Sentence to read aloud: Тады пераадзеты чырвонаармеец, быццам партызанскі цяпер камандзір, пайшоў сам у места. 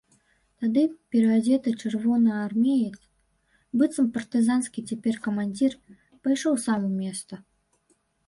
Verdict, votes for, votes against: accepted, 3, 0